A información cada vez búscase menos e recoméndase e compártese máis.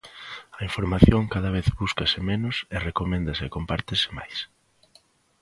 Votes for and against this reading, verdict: 2, 0, accepted